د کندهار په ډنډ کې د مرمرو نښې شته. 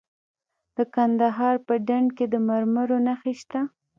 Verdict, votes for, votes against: accepted, 2, 0